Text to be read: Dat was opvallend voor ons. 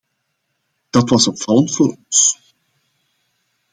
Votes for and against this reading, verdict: 2, 0, accepted